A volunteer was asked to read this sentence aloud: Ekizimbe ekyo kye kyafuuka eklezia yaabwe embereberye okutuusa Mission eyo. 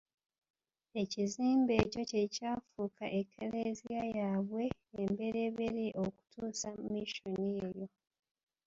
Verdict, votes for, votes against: accepted, 3, 1